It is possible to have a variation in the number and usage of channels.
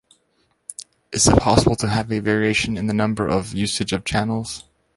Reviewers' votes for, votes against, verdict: 2, 1, accepted